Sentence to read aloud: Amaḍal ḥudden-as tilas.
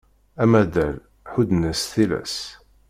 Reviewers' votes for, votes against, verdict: 1, 2, rejected